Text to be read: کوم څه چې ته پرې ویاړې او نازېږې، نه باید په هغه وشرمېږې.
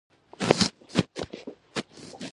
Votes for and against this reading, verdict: 0, 2, rejected